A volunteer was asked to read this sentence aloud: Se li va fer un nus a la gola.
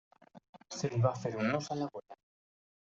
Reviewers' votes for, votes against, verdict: 1, 2, rejected